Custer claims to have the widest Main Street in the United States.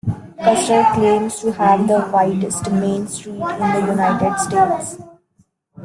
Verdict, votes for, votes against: rejected, 0, 2